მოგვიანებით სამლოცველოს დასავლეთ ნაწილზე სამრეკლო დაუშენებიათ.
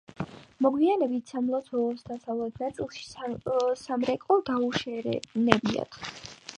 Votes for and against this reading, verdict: 2, 5, rejected